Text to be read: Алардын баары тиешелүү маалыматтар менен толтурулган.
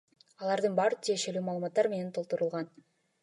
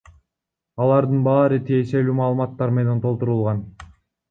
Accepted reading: first